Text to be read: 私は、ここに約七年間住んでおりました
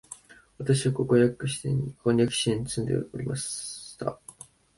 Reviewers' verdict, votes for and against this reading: rejected, 1, 2